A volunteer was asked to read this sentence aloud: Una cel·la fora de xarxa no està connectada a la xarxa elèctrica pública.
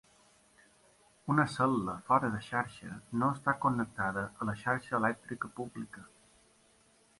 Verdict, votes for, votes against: accepted, 2, 0